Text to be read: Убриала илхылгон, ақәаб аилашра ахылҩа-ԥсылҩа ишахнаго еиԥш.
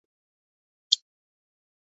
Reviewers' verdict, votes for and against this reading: rejected, 0, 2